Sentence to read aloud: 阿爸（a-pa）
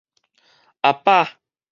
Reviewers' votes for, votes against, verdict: 2, 2, rejected